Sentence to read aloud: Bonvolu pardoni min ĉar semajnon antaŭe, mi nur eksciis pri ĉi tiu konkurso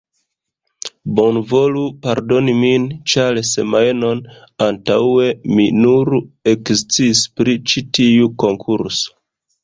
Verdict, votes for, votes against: accepted, 2, 1